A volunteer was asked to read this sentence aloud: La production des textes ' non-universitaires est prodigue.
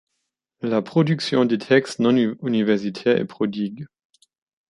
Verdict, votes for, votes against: rejected, 1, 2